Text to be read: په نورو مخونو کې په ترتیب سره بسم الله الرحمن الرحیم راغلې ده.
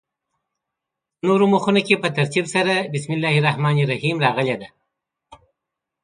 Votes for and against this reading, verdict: 2, 0, accepted